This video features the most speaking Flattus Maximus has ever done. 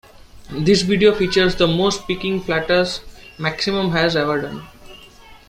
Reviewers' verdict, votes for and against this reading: rejected, 0, 2